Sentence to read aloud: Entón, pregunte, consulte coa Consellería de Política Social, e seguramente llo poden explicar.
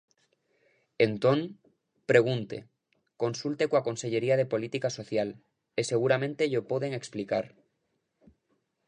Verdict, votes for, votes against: accepted, 3, 0